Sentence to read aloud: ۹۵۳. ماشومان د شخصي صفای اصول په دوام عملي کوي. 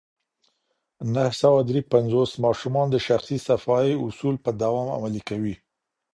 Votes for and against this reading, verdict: 0, 2, rejected